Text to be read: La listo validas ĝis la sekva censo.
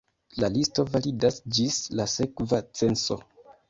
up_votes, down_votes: 2, 0